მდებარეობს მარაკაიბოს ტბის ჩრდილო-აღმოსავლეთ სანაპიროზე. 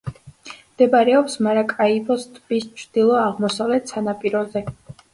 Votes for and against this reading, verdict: 2, 0, accepted